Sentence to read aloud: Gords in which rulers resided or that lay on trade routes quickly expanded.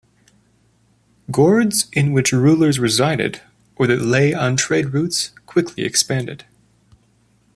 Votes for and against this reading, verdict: 2, 0, accepted